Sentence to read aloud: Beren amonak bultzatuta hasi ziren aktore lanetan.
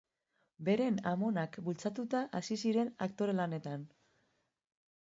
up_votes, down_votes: 2, 0